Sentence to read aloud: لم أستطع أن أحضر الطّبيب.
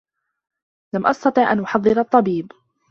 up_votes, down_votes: 0, 2